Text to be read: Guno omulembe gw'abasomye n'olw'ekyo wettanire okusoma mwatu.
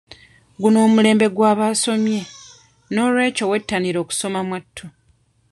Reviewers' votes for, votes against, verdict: 1, 2, rejected